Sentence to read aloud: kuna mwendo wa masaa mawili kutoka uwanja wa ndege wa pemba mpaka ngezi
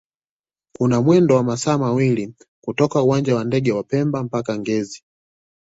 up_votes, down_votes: 2, 0